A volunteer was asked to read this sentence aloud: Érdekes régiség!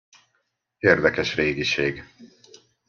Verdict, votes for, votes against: accepted, 2, 0